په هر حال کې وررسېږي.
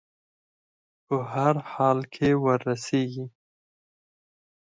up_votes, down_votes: 4, 0